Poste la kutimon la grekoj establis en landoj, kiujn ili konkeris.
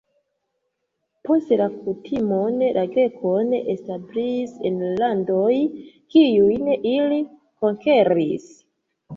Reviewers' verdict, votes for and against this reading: rejected, 0, 2